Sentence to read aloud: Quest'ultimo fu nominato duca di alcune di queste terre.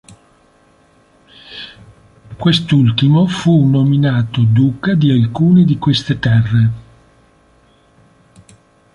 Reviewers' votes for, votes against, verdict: 3, 0, accepted